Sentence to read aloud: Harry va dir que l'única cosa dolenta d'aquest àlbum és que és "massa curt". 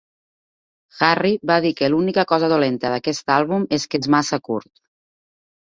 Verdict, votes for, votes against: rejected, 2, 4